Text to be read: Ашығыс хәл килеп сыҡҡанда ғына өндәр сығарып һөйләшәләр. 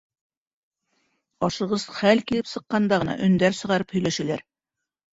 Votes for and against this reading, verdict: 2, 1, accepted